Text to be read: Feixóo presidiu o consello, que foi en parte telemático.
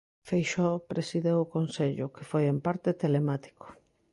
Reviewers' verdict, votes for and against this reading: rejected, 0, 3